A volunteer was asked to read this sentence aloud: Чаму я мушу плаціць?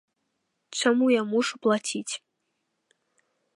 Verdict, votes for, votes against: accepted, 2, 0